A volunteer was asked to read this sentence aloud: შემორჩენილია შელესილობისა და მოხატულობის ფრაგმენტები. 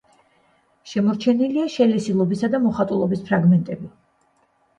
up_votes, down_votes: 2, 0